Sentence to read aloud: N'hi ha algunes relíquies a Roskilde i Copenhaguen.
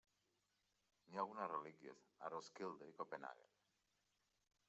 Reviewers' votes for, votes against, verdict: 1, 2, rejected